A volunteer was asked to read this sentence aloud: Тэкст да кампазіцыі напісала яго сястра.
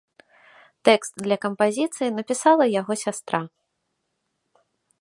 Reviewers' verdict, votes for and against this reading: rejected, 1, 2